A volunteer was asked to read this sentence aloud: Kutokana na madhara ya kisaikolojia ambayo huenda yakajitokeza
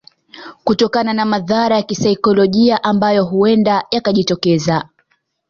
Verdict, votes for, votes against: rejected, 0, 2